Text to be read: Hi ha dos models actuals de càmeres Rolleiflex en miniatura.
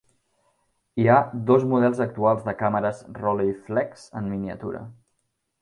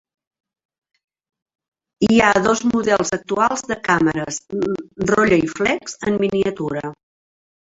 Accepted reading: first